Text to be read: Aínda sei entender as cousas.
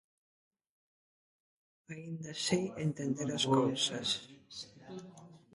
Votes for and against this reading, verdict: 2, 1, accepted